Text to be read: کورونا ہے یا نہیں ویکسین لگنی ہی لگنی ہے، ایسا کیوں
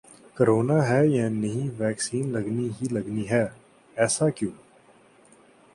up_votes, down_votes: 2, 0